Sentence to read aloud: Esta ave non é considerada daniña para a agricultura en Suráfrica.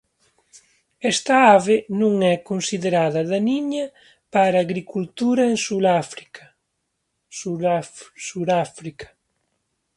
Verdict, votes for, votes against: rejected, 1, 2